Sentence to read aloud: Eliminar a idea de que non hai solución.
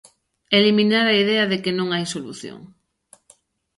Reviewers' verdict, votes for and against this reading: accepted, 2, 0